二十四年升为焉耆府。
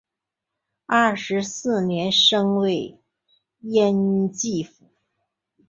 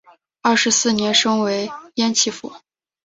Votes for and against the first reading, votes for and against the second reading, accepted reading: 0, 5, 4, 0, second